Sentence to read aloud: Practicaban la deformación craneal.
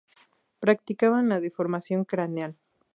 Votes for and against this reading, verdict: 2, 0, accepted